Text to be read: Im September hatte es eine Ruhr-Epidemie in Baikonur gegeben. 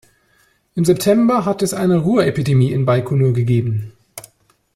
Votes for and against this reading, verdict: 2, 0, accepted